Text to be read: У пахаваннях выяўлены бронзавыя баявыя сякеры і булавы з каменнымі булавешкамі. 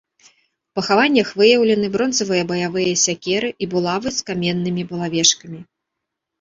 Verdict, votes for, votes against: accepted, 2, 0